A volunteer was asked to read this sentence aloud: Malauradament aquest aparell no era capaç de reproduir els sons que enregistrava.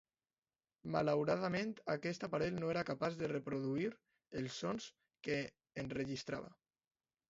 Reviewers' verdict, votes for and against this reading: accepted, 2, 0